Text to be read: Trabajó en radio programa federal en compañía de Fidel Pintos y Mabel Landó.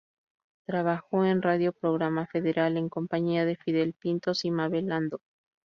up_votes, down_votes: 0, 2